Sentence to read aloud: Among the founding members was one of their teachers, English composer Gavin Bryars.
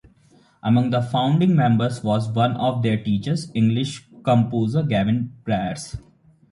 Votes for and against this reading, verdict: 2, 0, accepted